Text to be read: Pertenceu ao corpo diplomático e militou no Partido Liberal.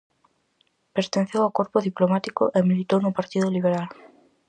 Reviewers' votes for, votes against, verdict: 2, 0, accepted